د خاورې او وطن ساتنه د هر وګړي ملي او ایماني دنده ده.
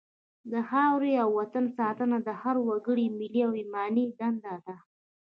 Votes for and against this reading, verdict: 2, 0, accepted